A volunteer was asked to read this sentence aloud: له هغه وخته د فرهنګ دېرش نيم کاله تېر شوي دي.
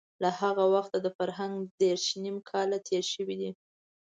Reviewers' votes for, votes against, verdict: 2, 0, accepted